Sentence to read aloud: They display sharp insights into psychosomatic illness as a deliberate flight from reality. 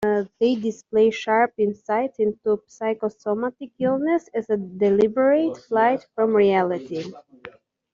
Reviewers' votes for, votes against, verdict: 1, 2, rejected